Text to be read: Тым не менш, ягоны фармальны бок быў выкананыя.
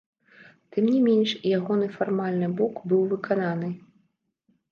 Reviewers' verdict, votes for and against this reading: rejected, 0, 2